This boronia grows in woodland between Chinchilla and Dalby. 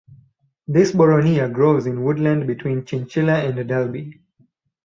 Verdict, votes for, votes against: rejected, 2, 2